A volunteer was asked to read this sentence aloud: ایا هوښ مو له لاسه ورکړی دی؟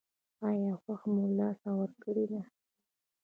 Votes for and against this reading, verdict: 1, 2, rejected